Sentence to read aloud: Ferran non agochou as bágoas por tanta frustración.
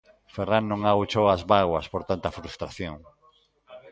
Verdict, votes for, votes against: accepted, 2, 0